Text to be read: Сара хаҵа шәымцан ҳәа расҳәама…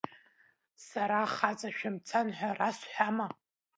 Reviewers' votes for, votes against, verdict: 0, 2, rejected